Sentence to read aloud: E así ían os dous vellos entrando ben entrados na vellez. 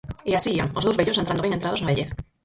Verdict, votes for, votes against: rejected, 0, 4